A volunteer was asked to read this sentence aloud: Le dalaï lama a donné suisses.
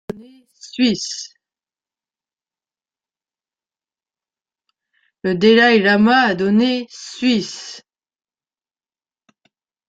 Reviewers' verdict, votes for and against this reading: rejected, 0, 3